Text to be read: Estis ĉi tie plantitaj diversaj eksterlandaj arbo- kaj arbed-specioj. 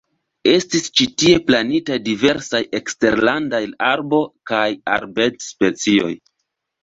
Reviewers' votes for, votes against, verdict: 2, 1, accepted